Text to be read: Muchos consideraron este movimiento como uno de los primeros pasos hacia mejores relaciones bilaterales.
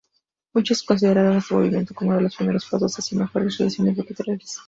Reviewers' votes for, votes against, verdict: 0, 2, rejected